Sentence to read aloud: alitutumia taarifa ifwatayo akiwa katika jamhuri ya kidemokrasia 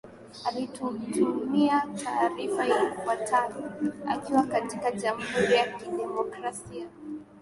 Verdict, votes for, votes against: accepted, 5, 1